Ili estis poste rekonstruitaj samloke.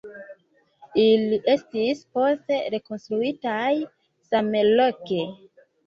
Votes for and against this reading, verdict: 0, 2, rejected